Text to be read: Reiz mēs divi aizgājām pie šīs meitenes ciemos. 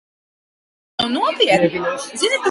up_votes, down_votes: 0, 4